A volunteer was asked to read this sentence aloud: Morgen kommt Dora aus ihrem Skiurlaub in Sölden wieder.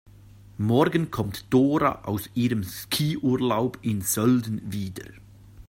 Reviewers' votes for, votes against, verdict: 2, 0, accepted